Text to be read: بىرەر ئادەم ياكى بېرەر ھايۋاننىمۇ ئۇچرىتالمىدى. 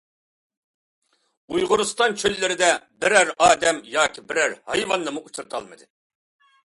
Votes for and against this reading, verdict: 0, 2, rejected